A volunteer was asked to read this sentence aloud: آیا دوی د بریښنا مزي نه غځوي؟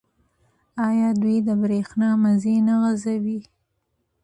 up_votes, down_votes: 2, 1